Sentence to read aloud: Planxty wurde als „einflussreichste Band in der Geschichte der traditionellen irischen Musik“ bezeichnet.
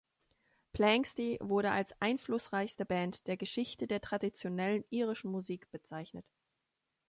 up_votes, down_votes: 0, 2